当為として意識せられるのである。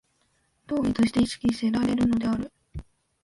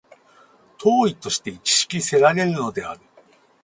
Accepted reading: first